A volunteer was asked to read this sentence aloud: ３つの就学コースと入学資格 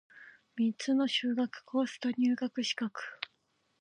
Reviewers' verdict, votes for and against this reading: rejected, 0, 2